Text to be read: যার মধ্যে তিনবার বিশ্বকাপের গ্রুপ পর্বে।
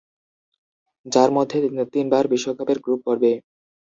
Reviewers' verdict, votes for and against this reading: rejected, 0, 2